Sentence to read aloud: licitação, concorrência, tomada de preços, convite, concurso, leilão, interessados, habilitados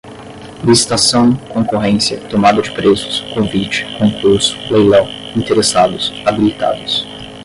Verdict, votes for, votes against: rejected, 0, 10